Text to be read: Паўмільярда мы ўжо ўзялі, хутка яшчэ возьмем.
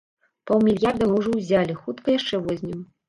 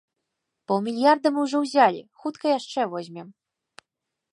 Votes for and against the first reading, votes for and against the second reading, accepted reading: 1, 2, 2, 0, second